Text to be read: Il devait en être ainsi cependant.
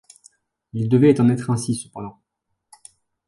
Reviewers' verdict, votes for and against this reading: accepted, 2, 0